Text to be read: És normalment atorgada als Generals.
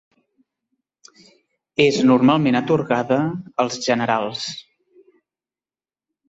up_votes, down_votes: 3, 0